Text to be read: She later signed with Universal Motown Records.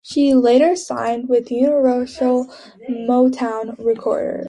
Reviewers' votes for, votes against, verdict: 0, 2, rejected